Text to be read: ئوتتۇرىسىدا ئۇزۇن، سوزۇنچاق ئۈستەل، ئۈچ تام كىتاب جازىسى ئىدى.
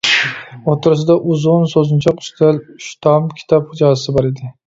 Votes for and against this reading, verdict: 0, 2, rejected